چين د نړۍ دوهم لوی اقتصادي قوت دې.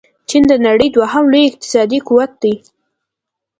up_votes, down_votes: 2, 0